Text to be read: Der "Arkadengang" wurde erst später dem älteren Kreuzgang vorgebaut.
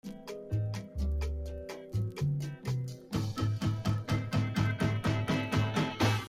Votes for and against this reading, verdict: 0, 2, rejected